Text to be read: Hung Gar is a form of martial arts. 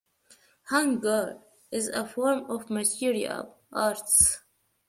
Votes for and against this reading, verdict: 1, 2, rejected